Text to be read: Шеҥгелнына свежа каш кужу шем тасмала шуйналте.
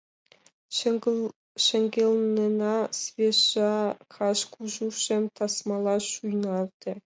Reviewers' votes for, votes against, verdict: 1, 5, rejected